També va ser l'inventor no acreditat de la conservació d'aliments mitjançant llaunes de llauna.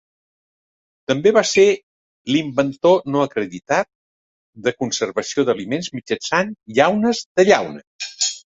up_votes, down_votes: 0, 2